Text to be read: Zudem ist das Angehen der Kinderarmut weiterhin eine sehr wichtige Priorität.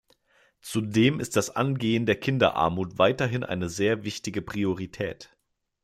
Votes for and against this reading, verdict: 2, 0, accepted